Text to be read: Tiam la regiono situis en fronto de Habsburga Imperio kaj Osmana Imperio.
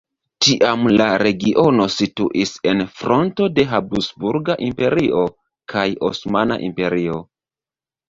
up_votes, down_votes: 1, 2